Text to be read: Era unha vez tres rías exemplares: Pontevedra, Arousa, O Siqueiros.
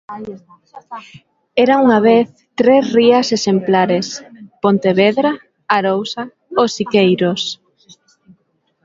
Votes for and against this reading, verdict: 2, 1, accepted